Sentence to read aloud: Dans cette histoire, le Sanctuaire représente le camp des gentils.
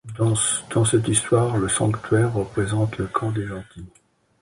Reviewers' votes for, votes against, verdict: 0, 2, rejected